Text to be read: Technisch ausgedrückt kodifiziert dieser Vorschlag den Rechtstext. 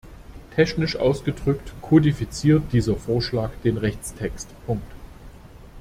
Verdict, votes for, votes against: rejected, 0, 2